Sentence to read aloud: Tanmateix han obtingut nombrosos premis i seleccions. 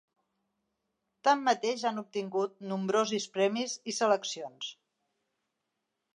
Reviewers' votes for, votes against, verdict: 0, 3, rejected